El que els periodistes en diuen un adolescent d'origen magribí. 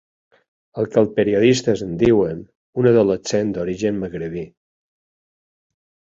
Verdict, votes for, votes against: accepted, 3, 2